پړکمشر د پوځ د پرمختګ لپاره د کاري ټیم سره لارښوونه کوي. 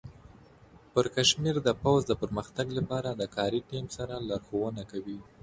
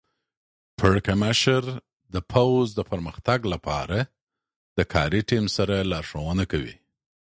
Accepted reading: second